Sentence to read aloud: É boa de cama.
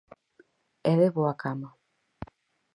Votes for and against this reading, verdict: 0, 4, rejected